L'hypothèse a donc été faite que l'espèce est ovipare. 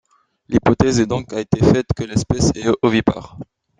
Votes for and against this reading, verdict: 2, 0, accepted